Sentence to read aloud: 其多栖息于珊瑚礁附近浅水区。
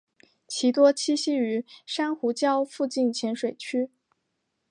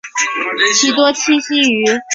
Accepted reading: first